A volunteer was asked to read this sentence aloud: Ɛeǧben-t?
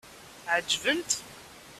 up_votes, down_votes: 2, 0